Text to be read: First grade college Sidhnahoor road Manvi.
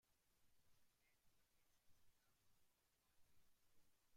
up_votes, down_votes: 0, 2